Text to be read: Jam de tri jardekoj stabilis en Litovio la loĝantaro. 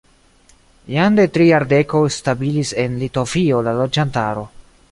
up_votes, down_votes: 2, 0